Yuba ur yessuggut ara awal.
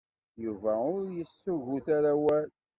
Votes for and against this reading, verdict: 1, 2, rejected